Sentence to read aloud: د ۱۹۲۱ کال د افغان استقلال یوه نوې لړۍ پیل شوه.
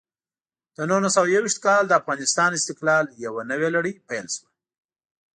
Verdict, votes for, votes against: rejected, 0, 2